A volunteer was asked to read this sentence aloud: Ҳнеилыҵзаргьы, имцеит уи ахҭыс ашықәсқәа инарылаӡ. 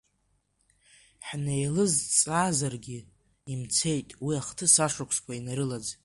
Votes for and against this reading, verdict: 2, 1, accepted